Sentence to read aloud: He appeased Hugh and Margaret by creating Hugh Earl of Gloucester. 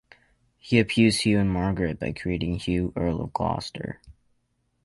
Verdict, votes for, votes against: accepted, 4, 0